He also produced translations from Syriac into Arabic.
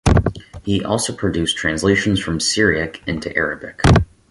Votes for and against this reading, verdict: 4, 0, accepted